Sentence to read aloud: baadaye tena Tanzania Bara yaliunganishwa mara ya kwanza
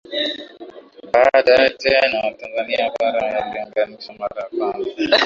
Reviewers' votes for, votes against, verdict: 1, 3, rejected